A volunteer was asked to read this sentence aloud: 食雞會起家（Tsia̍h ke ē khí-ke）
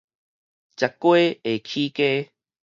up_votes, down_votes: 2, 2